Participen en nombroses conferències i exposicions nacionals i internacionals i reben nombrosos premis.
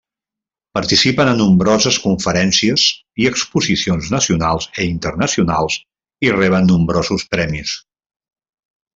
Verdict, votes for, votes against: rejected, 1, 2